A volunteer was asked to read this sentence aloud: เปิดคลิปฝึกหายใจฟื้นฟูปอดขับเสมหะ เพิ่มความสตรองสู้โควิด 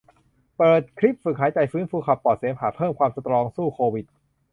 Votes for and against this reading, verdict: 0, 2, rejected